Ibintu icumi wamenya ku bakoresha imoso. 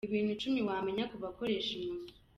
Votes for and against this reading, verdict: 0, 3, rejected